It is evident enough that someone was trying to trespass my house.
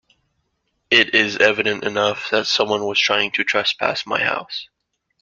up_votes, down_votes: 2, 0